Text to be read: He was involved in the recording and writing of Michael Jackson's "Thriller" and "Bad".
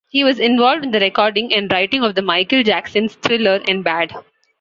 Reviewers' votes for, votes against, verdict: 2, 0, accepted